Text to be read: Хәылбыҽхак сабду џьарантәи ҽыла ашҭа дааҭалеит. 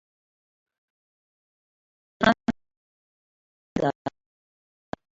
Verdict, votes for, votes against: rejected, 1, 2